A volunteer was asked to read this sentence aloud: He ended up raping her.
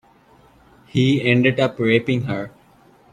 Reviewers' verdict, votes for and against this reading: accepted, 2, 0